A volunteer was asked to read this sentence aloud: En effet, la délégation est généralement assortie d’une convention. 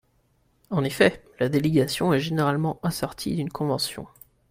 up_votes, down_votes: 2, 0